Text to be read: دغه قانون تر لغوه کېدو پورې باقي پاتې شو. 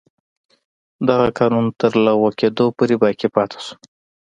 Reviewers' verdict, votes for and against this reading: accepted, 2, 0